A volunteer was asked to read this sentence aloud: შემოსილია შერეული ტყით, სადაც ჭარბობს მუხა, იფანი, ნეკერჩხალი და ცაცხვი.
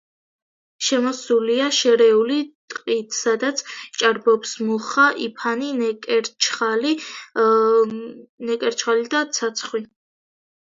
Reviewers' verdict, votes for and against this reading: rejected, 0, 2